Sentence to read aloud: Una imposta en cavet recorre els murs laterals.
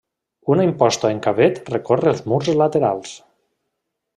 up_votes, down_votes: 2, 0